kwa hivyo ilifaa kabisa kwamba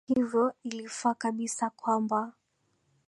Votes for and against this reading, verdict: 0, 2, rejected